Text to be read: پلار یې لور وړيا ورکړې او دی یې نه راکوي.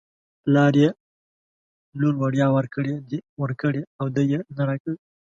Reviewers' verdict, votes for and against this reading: rejected, 1, 2